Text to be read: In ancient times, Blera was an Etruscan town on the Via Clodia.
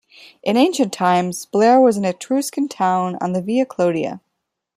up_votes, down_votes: 2, 0